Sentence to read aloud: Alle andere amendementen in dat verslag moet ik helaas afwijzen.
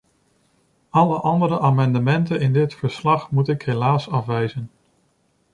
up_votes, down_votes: 1, 2